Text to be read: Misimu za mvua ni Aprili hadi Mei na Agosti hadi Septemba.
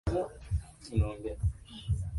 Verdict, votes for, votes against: rejected, 0, 2